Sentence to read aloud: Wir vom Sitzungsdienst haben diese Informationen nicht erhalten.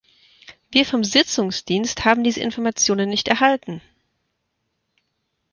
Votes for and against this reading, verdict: 0, 2, rejected